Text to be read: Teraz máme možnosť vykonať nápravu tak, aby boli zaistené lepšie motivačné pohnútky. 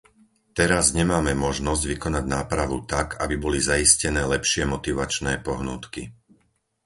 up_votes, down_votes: 2, 4